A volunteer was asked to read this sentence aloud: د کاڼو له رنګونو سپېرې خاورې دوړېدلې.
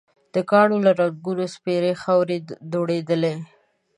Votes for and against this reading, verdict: 2, 0, accepted